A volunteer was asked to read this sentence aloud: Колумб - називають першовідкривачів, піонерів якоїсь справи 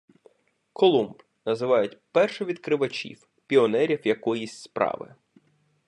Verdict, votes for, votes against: rejected, 1, 2